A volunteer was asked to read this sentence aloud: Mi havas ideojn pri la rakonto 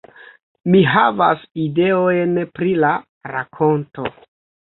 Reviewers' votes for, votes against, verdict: 1, 2, rejected